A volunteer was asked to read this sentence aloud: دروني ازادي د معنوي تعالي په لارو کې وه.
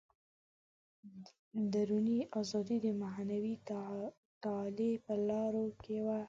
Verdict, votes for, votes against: rejected, 0, 2